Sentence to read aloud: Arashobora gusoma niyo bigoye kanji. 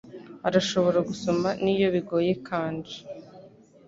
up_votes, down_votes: 2, 0